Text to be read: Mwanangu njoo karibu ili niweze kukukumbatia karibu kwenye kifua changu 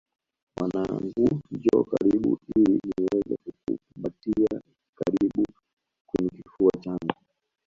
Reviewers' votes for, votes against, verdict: 0, 2, rejected